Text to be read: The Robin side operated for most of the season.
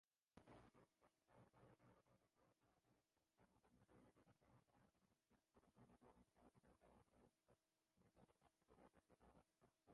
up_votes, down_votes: 0, 3